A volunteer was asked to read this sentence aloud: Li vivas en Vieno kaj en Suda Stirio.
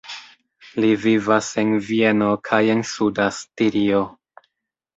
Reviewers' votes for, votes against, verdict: 0, 2, rejected